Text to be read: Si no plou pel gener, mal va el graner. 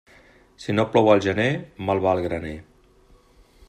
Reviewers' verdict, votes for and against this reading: rejected, 0, 2